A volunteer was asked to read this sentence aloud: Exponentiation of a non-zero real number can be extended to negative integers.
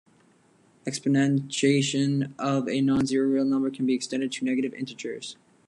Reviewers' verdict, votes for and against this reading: rejected, 1, 2